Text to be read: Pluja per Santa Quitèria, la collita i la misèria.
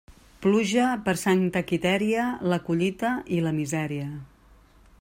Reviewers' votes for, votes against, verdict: 2, 0, accepted